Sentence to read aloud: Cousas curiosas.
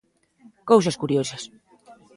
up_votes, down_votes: 2, 0